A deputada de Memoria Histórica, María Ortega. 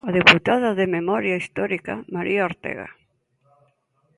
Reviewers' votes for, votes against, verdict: 2, 0, accepted